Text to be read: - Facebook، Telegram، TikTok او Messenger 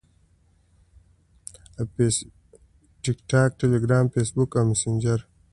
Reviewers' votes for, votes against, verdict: 2, 0, accepted